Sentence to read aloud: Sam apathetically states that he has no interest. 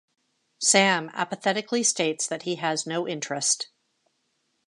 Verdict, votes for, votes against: accepted, 2, 0